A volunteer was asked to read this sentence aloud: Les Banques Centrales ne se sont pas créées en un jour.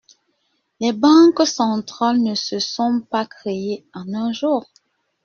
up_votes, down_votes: 1, 2